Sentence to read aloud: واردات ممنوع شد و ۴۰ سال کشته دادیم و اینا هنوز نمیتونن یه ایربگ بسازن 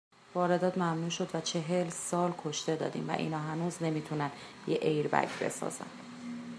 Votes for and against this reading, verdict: 0, 2, rejected